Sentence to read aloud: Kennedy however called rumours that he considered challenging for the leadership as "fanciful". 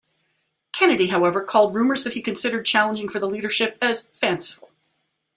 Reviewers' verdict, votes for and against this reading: rejected, 1, 2